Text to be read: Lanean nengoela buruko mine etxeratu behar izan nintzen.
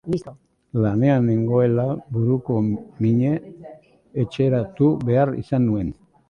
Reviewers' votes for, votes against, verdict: 0, 2, rejected